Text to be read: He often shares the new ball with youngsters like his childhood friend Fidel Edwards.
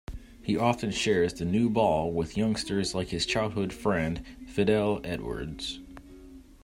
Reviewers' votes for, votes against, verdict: 2, 0, accepted